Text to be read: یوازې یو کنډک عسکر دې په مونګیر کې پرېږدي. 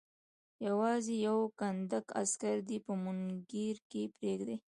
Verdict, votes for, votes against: rejected, 1, 2